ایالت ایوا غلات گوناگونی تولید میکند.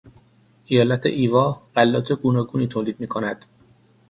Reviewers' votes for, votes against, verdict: 6, 0, accepted